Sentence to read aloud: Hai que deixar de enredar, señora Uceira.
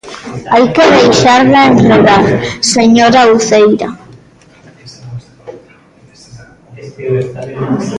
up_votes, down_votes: 0, 2